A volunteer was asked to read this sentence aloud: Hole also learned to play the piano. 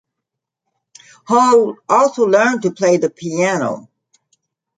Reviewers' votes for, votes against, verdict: 2, 0, accepted